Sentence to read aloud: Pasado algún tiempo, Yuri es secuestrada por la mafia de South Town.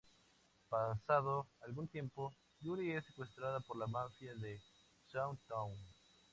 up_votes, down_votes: 2, 0